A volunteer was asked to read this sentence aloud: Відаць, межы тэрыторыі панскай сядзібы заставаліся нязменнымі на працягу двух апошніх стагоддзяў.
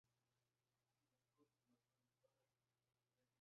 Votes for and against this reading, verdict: 1, 2, rejected